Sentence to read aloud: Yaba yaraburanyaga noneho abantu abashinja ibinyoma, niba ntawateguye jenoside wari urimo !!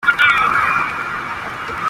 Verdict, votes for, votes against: rejected, 0, 2